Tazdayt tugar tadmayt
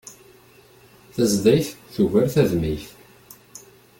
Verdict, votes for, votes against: accepted, 2, 0